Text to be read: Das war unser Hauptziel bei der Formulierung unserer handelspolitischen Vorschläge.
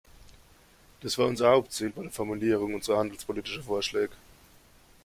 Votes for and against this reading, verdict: 2, 1, accepted